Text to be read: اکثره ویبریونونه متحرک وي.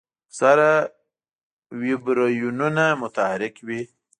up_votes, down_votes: 0, 2